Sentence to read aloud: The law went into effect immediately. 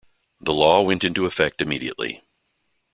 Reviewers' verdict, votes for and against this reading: accepted, 3, 0